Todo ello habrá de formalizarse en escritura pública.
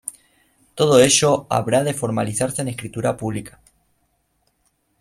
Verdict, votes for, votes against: rejected, 0, 2